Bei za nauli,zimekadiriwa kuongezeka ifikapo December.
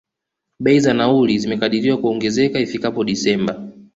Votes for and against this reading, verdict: 2, 0, accepted